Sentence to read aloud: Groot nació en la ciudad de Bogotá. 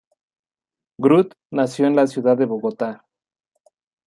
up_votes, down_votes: 2, 1